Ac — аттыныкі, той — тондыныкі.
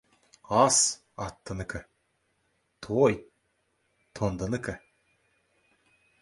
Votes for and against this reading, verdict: 2, 1, accepted